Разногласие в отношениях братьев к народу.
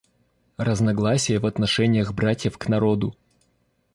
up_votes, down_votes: 2, 0